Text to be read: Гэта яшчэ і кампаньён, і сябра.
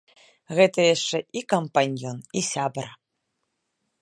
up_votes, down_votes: 1, 2